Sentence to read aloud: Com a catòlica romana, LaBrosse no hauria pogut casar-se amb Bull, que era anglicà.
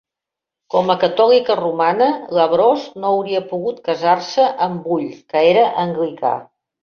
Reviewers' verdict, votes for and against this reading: accepted, 2, 1